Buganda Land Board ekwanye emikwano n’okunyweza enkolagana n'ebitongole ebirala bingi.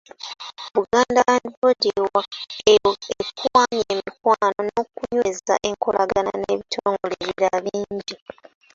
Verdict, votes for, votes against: rejected, 0, 2